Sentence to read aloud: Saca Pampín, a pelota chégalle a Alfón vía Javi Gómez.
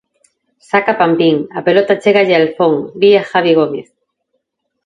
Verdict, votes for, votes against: accepted, 2, 0